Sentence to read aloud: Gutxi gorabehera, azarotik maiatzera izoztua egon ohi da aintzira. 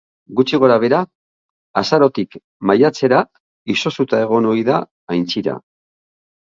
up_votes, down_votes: 1, 2